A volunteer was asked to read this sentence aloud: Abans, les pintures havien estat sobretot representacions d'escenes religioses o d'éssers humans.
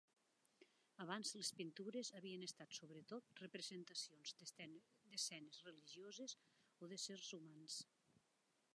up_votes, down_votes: 1, 2